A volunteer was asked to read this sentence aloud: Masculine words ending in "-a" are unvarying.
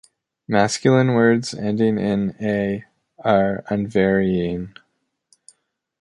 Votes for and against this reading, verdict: 2, 0, accepted